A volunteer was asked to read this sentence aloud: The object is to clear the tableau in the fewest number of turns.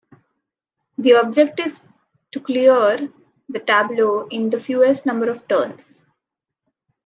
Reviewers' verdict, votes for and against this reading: rejected, 1, 2